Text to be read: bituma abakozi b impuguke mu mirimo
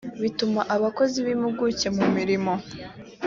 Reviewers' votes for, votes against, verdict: 2, 0, accepted